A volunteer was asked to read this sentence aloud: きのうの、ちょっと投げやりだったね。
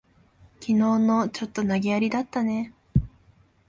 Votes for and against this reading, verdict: 2, 0, accepted